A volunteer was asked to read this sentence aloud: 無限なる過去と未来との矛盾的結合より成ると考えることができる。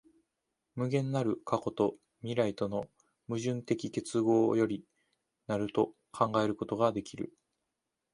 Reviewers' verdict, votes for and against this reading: accepted, 2, 0